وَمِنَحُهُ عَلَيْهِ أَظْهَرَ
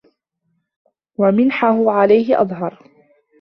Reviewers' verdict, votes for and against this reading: accepted, 2, 1